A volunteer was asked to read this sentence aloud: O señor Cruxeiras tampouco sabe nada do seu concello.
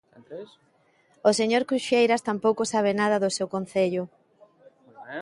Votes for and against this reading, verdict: 2, 1, accepted